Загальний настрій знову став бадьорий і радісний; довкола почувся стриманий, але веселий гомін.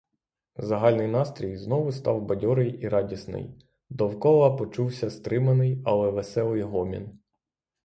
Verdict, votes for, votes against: rejected, 3, 3